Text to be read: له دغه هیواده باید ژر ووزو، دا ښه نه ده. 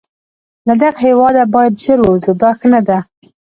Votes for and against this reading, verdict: 1, 2, rejected